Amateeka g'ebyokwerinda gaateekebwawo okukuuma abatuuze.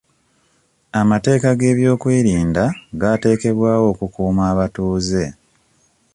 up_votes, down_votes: 2, 1